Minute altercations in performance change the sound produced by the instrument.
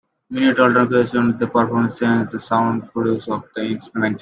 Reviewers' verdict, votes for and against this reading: rejected, 0, 2